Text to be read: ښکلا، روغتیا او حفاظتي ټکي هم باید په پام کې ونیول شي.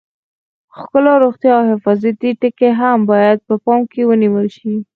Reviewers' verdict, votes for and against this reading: accepted, 4, 0